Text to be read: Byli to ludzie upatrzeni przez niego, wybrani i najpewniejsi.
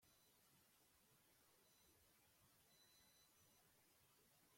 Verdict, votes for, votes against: rejected, 0, 2